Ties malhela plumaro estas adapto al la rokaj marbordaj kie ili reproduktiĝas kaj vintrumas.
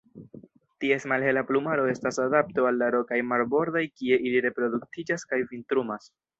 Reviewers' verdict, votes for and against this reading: rejected, 1, 2